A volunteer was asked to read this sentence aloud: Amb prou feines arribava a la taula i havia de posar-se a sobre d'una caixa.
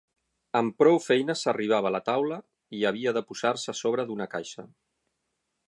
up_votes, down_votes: 6, 0